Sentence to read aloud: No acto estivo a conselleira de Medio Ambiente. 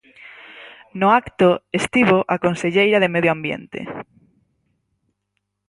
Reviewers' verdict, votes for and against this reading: accepted, 6, 0